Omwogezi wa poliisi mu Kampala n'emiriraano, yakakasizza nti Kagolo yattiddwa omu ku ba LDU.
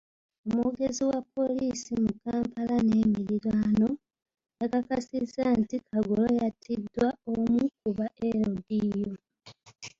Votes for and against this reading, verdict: 1, 2, rejected